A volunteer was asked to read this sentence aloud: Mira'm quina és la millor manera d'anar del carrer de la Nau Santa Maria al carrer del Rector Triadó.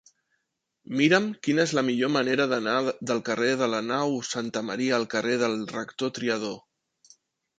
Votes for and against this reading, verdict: 0, 2, rejected